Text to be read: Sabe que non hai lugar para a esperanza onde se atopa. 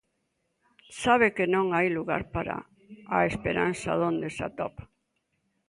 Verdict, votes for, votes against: rejected, 0, 2